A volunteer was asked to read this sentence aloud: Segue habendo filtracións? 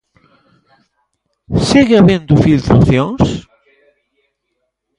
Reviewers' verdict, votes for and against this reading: rejected, 1, 2